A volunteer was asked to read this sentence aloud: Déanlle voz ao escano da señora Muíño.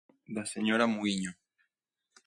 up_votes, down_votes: 1, 2